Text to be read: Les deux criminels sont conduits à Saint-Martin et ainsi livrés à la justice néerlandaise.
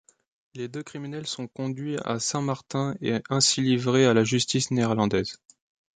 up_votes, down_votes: 2, 0